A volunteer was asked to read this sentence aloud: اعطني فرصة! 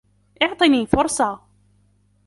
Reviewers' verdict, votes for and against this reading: accepted, 2, 0